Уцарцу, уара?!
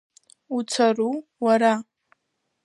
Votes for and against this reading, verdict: 1, 2, rejected